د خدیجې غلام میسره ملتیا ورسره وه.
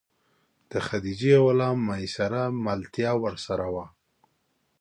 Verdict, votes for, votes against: accepted, 2, 0